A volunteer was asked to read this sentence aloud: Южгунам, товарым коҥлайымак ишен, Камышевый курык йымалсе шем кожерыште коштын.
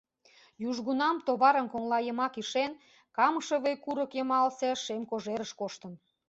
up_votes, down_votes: 1, 2